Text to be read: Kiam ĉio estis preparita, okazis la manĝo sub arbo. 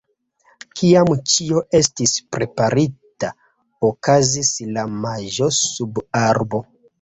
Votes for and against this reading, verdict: 0, 2, rejected